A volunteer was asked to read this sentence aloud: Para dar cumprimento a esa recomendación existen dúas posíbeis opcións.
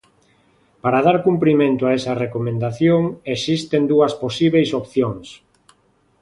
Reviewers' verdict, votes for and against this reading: accepted, 2, 0